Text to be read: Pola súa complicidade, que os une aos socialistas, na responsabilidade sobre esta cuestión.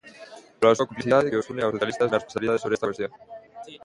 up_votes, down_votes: 0, 2